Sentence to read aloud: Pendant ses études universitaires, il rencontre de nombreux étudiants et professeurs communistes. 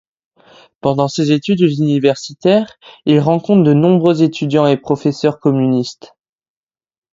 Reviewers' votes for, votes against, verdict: 2, 0, accepted